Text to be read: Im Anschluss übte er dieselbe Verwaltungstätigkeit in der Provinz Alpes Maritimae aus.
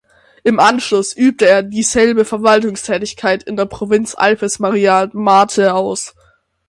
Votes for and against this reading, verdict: 0, 6, rejected